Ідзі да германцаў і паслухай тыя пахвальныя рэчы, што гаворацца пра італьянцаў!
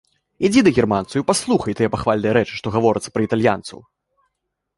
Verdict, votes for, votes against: accepted, 2, 0